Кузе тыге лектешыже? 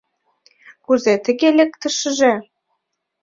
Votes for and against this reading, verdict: 0, 2, rejected